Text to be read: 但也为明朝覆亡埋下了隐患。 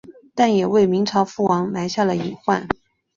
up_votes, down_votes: 2, 0